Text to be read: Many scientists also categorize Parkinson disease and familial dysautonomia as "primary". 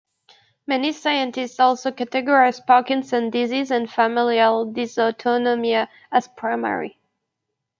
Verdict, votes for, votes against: rejected, 1, 2